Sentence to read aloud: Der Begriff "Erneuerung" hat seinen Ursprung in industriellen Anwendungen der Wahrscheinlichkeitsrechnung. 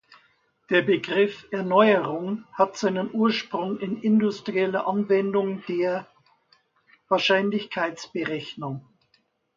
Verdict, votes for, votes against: rejected, 0, 2